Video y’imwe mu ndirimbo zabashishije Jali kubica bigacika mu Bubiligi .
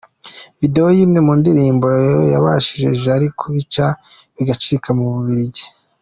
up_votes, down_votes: 2, 0